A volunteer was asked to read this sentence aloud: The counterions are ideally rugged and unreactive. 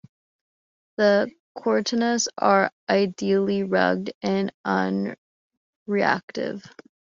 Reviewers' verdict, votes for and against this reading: rejected, 0, 2